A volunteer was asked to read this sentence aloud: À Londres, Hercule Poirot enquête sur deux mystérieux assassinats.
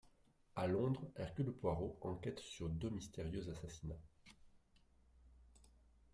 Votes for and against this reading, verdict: 1, 2, rejected